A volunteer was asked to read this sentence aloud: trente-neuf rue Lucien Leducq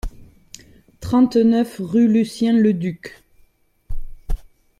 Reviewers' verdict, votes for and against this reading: accepted, 2, 0